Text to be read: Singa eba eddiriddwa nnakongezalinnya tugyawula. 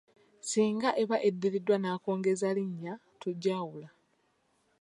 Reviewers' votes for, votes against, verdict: 2, 0, accepted